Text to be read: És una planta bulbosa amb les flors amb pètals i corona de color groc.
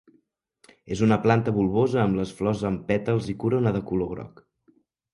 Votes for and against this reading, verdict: 3, 0, accepted